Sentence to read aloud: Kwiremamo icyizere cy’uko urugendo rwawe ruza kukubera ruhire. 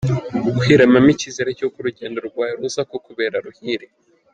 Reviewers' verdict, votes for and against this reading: rejected, 0, 2